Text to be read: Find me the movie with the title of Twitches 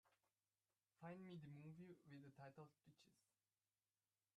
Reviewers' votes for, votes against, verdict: 0, 2, rejected